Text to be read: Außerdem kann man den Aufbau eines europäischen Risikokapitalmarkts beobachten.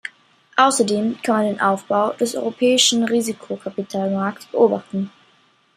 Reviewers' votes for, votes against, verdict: 1, 2, rejected